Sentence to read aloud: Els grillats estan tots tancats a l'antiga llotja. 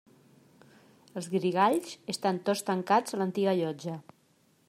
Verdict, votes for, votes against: rejected, 0, 2